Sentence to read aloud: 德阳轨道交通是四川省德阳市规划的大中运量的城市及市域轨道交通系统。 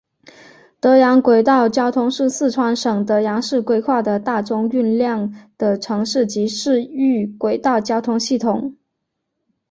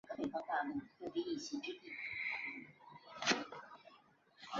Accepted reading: first